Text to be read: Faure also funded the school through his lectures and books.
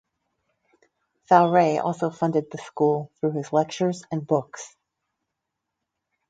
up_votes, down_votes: 4, 0